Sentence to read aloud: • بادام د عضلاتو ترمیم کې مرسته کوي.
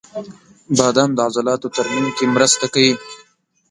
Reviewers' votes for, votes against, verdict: 2, 0, accepted